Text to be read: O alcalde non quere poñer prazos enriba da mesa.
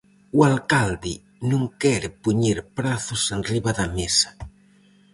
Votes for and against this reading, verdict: 4, 0, accepted